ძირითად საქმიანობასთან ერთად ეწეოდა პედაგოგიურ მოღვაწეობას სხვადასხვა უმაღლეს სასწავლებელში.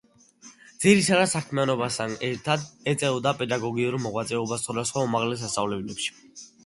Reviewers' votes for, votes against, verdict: 0, 2, rejected